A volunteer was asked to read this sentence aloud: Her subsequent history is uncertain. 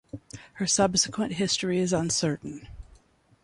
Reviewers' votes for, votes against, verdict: 2, 0, accepted